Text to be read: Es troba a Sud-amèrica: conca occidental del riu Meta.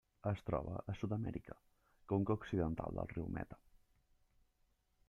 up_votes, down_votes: 0, 2